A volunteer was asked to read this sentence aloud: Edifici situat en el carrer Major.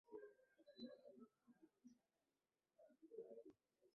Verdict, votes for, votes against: rejected, 1, 2